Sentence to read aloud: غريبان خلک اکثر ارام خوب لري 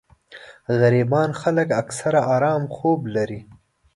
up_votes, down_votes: 2, 0